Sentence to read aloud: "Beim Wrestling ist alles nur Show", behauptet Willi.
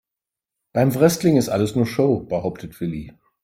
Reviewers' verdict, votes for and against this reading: accepted, 3, 1